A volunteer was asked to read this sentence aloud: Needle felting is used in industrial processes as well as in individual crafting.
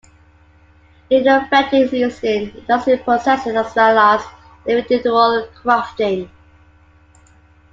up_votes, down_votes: 1, 2